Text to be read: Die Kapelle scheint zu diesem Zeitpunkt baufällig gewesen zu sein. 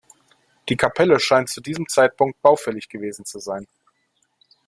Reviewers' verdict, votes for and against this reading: accepted, 2, 0